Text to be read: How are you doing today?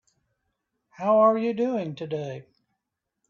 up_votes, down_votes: 2, 0